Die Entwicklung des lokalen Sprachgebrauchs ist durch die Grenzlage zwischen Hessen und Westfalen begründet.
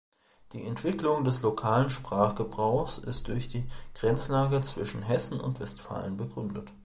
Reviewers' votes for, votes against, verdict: 4, 1, accepted